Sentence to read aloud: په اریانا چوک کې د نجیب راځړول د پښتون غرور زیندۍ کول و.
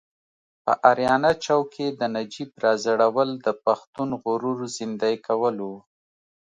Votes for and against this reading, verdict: 2, 0, accepted